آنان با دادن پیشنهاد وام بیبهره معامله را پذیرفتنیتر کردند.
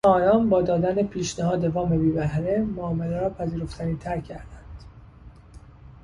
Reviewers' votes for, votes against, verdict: 0, 2, rejected